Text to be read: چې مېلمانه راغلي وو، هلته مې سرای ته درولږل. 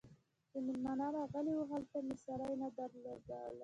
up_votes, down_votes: 1, 2